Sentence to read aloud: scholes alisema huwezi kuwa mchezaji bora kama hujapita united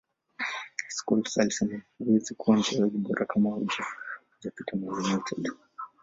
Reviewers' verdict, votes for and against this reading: accepted, 2, 1